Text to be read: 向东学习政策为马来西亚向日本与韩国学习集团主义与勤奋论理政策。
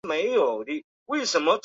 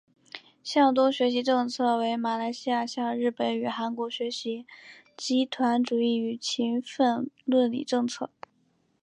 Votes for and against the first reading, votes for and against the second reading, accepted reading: 0, 2, 2, 1, second